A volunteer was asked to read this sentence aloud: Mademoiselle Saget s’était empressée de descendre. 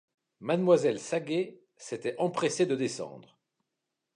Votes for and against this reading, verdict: 2, 0, accepted